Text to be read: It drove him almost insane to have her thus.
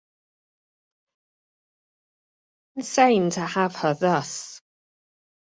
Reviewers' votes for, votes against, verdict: 1, 3, rejected